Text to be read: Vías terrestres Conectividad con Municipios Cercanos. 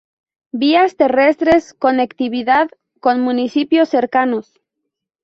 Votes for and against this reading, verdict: 0, 2, rejected